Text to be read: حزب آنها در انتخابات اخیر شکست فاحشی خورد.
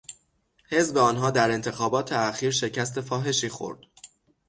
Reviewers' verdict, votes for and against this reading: accepted, 6, 0